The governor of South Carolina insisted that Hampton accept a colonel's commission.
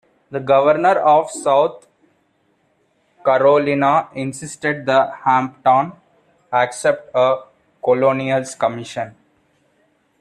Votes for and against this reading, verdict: 0, 2, rejected